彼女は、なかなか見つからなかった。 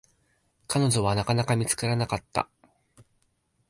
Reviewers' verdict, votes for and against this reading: rejected, 2, 3